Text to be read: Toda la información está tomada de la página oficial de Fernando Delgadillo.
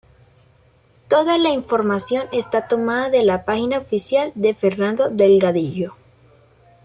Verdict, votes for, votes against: accepted, 2, 0